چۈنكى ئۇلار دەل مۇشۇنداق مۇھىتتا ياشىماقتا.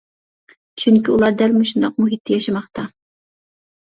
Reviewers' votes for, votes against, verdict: 2, 1, accepted